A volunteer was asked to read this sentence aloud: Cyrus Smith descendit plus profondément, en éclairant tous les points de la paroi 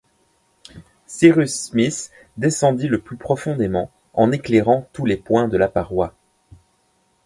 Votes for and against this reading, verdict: 1, 2, rejected